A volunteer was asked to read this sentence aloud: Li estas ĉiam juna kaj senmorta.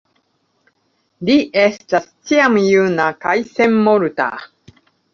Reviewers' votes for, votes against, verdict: 1, 2, rejected